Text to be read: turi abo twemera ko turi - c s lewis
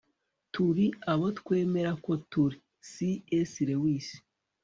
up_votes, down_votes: 0, 2